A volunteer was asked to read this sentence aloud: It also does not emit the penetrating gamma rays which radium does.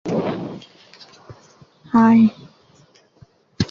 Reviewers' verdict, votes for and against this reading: rejected, 0, 2